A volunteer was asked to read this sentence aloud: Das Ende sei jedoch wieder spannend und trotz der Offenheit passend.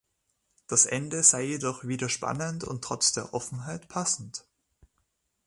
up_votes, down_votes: 2, 0